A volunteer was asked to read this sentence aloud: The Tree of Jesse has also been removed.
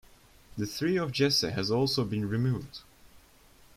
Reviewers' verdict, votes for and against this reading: rejected, 1, 2